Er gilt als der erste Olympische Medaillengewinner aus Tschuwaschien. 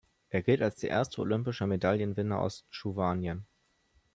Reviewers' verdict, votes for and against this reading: rejected, 0, 2